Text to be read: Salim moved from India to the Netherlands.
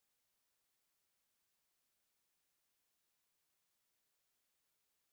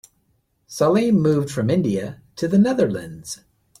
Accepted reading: second